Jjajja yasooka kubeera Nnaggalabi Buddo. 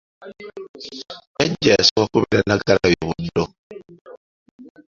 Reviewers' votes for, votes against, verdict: 1, 2, rejected